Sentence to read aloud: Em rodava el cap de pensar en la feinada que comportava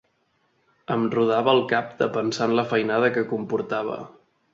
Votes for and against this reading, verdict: 4, 0, accepted